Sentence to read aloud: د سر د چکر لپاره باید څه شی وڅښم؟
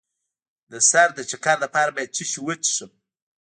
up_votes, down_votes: 1, 2